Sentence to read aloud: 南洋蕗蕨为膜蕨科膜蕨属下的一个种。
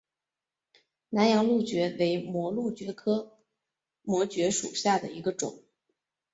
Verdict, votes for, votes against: accepted, 4, 2